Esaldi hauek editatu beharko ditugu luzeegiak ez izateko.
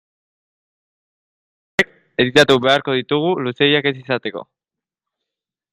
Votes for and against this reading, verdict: 0, 2, rejected